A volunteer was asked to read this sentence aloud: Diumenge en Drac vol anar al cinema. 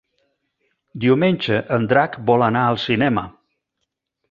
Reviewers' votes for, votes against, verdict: 4, 0, accepted